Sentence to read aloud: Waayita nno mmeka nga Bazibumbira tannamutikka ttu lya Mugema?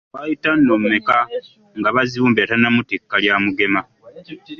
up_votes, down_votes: 1, 2